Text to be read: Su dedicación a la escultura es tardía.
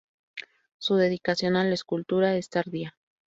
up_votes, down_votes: 2, 0